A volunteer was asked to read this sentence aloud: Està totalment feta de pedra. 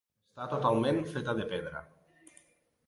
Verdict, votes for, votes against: rejected, 0, 2